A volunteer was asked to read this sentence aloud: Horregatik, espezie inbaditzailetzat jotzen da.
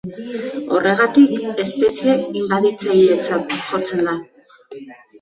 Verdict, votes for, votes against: rejected, 1, 2